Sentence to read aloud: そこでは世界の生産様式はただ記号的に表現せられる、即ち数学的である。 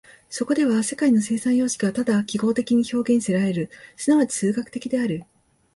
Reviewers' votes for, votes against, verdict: 2, 0, accepted